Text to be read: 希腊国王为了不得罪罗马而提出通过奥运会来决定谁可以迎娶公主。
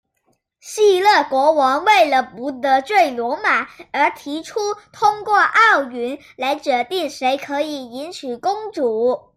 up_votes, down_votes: 0, 2